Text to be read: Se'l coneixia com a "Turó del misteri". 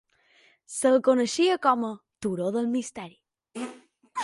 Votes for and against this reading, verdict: 3, 2, accepted